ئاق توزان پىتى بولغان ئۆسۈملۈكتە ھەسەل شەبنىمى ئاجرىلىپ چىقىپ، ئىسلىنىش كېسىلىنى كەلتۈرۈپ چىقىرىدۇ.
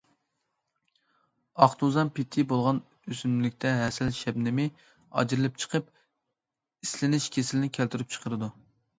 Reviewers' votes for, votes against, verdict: 2, 1, accepted